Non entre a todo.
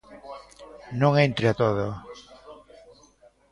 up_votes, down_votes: 2, 0